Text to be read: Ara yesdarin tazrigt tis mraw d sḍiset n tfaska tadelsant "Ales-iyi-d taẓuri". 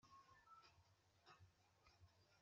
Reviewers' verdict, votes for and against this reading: rejected, 1, 2